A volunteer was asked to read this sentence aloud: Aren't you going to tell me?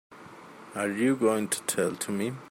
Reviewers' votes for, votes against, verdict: 2, 4, rejected